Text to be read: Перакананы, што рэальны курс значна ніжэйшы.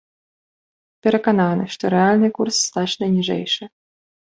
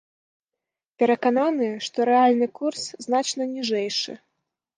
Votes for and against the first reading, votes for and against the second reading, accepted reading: 0, 2, 2, 0, second